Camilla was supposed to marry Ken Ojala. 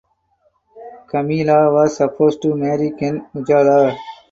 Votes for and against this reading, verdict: 2, 2, rejected